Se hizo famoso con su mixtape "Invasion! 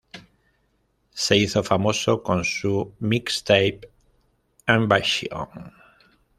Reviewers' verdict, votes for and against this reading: rejected, 1, 2